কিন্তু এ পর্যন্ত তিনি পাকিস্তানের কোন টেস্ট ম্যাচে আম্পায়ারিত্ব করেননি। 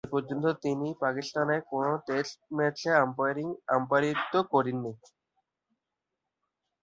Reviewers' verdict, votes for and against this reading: rejected, 0, 2